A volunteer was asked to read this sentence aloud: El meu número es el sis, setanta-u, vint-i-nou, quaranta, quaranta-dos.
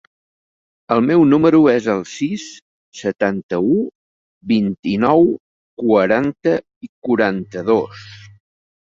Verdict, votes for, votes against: rejected, 0, 2